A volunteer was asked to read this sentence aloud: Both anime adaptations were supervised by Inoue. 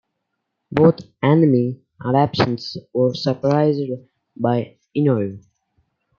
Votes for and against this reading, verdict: 1, 2, rejected